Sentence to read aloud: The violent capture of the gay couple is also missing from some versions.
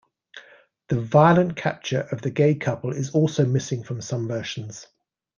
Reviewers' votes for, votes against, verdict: 2, 0, accepted